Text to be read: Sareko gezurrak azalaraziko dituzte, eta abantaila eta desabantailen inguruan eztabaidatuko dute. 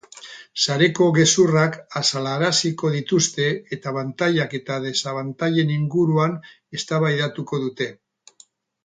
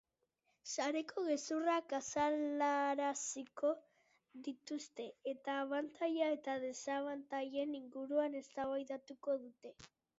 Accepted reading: second